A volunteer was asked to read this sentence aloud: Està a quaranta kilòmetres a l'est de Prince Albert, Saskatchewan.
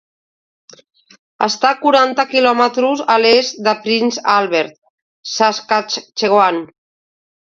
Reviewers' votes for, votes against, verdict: 1, 2, rejected